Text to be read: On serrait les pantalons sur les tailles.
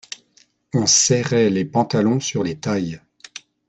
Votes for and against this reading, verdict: 2, 0, accepted